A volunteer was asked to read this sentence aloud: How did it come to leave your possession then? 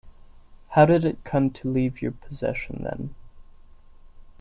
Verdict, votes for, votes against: accepted, 2, 0